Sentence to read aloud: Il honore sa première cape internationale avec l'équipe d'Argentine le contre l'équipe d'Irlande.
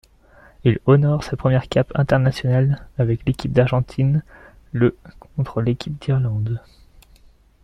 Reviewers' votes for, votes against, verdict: 1, 2, rejected